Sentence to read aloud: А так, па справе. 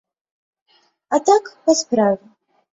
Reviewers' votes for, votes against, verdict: 2, 0, accepted